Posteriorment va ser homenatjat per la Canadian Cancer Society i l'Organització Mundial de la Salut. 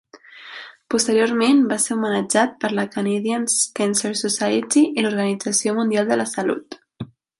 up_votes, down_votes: 3, 0